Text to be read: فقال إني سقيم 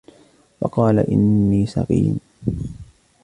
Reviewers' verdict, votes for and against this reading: accepted, 2, 0